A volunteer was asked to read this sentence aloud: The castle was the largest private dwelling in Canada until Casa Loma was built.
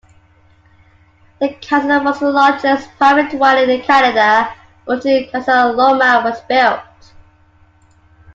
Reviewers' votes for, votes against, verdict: 0, 2, rejected